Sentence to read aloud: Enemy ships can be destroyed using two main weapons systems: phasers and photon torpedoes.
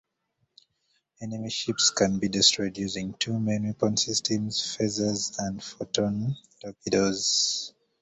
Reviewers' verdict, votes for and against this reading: accepted, 2, 0